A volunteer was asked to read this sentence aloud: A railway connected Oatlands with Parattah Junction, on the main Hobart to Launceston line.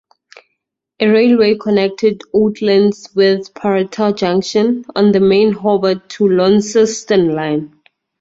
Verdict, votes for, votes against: rejected, 0, 2